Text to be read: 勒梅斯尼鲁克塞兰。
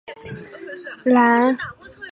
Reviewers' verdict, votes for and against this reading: rejected, 0, 6